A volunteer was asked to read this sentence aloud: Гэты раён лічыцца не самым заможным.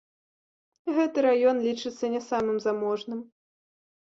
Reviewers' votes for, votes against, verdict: 2, 0, accepted